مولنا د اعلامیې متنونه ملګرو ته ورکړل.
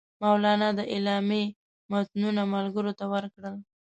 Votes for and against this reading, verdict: 2, 0, accepted